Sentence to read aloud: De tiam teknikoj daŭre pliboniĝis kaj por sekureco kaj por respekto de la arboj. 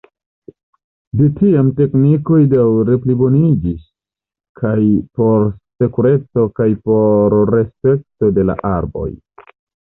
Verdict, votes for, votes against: rejected, 1, 2